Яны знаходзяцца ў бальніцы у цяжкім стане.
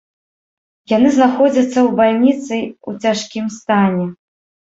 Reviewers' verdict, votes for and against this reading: rejected, 1, 2